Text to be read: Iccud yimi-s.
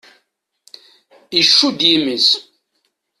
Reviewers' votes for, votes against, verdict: 2, 0, accepted